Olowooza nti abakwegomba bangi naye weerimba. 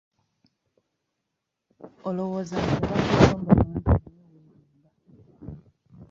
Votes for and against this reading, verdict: 0, 2, rejected